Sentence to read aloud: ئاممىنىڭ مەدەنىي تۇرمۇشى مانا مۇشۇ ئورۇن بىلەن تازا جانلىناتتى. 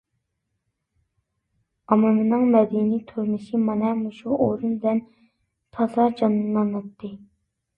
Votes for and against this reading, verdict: 0, 2, rejected